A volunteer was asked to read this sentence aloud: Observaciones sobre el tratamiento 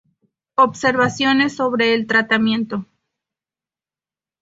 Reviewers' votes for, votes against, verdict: 2, 0, accepted